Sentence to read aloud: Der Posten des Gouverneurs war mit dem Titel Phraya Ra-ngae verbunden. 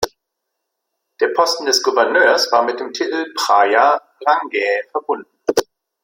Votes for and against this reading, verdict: 2, 1, accepted